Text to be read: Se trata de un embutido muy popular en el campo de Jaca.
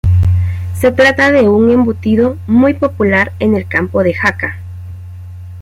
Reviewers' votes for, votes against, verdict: 2, 0, accepted